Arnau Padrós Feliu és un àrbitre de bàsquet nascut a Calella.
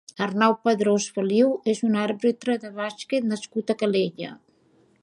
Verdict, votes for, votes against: accepted, 2, 0